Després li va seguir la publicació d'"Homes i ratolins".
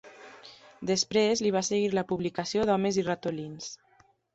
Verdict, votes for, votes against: accepted, 3, 0